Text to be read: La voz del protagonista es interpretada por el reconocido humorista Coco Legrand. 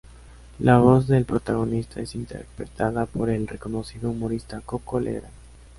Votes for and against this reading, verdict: 0, 2, rejected